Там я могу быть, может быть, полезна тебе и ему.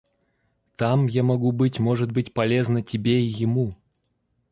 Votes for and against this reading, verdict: 0, 2, rejected